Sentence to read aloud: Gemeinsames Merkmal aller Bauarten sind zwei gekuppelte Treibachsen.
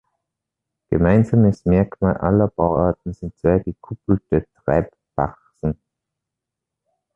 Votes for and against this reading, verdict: 1, 2, rejected